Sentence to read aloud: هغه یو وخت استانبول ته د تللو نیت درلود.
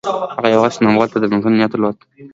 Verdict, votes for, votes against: accepted, 2, 1